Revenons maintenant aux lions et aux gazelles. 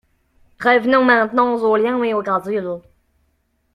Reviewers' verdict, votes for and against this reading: rejected, 1, 4